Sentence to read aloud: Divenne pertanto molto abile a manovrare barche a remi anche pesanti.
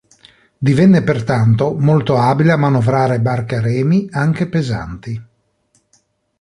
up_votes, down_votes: 2, 0